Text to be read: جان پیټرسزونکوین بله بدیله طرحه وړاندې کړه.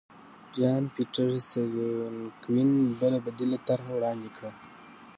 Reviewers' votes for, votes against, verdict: 0, 2, rejected